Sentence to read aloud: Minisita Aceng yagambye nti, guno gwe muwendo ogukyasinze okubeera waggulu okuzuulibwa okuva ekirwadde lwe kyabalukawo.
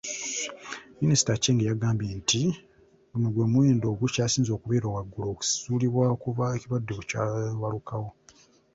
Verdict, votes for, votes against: rejected, 1, 2